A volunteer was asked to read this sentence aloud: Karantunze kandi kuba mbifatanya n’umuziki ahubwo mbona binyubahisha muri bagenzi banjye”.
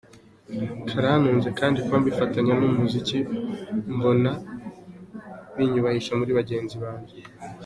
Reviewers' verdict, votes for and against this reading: accepted, 2, 0